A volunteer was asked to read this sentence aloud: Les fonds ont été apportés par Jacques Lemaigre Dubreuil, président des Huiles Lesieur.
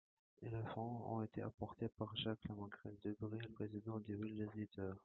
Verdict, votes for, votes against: rejected, 0, 2